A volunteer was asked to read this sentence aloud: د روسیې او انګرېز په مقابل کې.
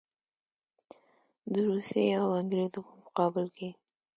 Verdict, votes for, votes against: accepted, 2, 0